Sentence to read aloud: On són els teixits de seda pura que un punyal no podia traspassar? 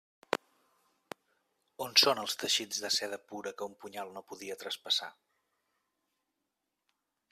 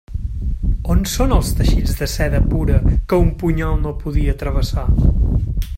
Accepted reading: first